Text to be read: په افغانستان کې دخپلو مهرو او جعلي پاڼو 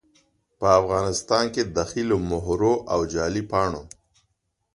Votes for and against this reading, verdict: 0, 2, rejected